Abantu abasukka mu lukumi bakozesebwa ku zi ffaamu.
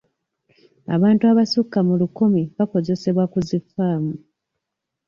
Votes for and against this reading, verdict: 1, 2, rejected